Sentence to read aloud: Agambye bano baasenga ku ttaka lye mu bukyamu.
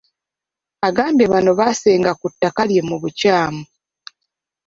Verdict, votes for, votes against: accepted, 2, 1